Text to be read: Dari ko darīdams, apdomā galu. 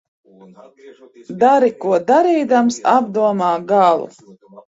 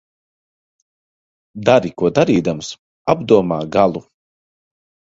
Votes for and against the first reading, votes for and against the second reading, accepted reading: 0, 2, 2, 0, second